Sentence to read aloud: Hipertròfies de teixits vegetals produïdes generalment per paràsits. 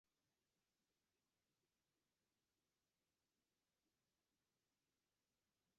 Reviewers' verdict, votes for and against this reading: rejected, 0, 2